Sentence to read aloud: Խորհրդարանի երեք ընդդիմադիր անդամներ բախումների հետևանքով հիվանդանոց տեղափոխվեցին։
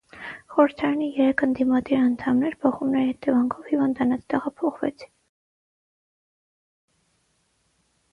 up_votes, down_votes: 3, 3